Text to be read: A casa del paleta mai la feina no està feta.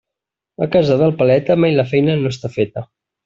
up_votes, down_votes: 3, 0